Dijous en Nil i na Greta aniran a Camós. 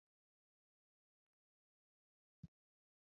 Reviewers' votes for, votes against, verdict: 0, 4, rejected